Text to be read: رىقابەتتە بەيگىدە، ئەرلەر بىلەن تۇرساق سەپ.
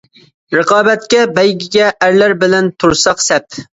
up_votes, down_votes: 0, 2